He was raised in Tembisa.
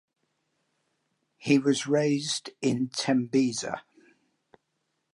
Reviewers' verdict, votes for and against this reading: accepted, 2, 0